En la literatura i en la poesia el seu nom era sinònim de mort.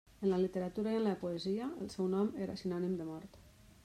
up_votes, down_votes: 1, 2